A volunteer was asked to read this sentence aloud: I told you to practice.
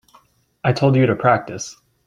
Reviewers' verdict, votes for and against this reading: accepted, 3, 0